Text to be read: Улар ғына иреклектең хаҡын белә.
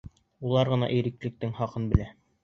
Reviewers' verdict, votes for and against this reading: accepted, 2, 0